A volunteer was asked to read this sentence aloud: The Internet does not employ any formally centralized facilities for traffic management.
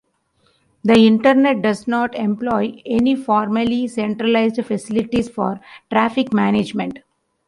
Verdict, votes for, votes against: accepted, 2, 0